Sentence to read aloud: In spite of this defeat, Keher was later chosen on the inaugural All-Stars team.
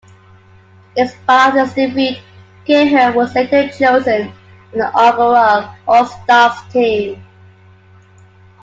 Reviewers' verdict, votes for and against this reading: rejected, 0, 2